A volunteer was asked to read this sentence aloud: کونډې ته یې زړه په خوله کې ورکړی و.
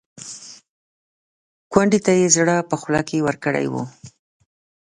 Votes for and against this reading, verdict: 2, 0, accepted